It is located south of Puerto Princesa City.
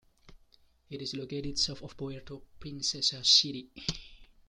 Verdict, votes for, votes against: rejected, 1, 2